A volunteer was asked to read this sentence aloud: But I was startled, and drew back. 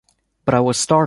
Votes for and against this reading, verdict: 1, 2, rejected